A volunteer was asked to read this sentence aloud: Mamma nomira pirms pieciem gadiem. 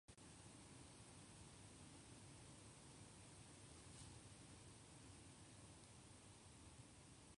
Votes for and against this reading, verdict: 0, 2, rejected